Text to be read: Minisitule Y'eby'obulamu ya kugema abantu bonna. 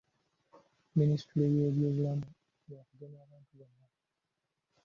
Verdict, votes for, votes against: rejected, 0, 2